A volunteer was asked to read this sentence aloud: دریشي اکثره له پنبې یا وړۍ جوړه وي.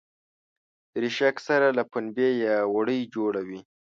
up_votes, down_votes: 2, 0